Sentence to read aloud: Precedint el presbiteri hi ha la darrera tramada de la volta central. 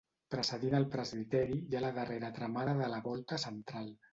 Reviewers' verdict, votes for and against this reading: rejected, 0, 2